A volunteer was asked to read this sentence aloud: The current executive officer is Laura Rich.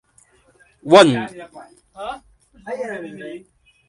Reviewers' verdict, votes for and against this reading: rejected, 0, 2